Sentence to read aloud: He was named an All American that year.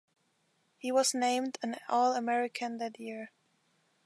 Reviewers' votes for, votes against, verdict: 2, 0, accepted